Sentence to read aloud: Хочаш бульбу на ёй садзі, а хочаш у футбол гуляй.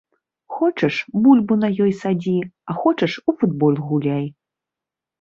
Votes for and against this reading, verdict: 0, 2, rejected